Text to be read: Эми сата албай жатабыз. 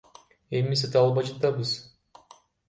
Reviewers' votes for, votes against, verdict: 0, 2, rejected